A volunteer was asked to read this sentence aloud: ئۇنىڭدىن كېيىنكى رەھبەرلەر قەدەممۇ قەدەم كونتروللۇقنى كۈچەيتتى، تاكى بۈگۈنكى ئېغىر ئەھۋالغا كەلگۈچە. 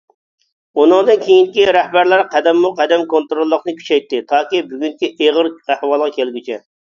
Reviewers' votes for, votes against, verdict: 2, 1, accepted